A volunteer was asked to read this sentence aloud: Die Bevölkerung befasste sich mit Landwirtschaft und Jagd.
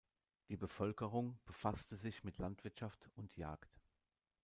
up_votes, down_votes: 2, 0